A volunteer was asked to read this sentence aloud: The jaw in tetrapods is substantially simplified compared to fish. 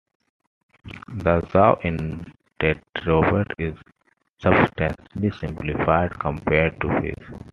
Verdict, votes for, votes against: accepted, 2, 1